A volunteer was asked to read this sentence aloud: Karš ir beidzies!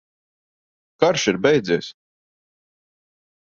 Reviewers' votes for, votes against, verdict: 2, 0, accepted